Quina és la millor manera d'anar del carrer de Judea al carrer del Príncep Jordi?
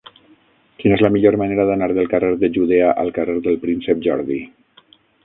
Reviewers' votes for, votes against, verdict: 3, 6, rejected